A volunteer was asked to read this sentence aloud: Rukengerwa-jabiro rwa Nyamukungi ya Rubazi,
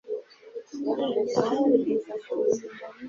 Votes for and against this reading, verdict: 1, 2, rejected